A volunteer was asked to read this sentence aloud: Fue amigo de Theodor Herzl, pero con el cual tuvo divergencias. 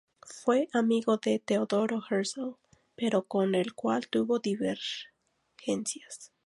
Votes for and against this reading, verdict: 2, 0, accepted